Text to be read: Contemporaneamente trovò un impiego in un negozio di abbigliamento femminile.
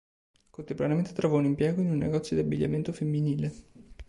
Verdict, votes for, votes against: accepted, 2, 0